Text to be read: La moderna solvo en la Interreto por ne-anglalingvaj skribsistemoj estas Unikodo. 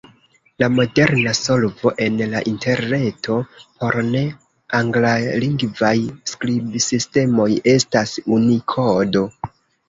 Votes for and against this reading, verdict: 1, 2, rejected